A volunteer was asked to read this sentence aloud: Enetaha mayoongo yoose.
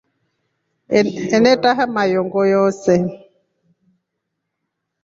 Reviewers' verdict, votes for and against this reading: accepted, 2, 0